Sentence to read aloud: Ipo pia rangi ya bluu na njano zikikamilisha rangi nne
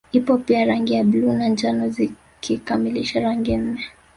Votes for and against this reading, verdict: 2, 0, accepted